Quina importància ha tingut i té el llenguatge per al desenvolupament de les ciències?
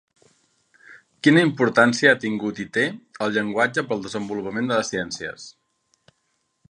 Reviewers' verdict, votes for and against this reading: rejected, 0, 2